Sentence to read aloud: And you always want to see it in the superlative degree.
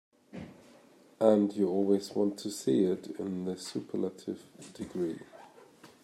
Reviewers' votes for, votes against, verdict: 2, 0, accepted